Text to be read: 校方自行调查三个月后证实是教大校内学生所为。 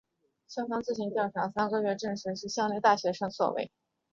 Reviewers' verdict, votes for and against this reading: accepted, 2, 1